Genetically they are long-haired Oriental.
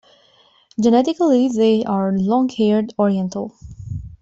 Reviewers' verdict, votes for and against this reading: accepted, 2, 0